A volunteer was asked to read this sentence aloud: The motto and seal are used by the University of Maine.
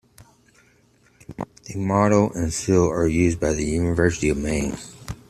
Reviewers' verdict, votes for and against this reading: accepted, 2, 0